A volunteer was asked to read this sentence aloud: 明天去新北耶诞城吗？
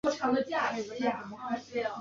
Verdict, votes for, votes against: rejected, 1, 2